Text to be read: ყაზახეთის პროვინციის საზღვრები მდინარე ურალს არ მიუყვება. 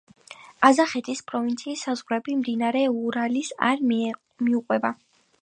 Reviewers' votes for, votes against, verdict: 2, 5, rejected